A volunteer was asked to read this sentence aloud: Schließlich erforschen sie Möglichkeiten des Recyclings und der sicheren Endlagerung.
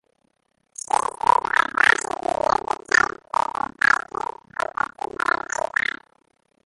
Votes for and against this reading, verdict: 0, 3, rejected